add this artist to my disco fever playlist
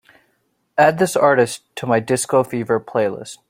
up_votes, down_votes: 2, 0